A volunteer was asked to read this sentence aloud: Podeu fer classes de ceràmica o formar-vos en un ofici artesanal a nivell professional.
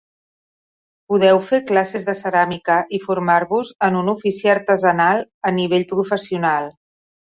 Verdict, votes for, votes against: rejected, 0, 2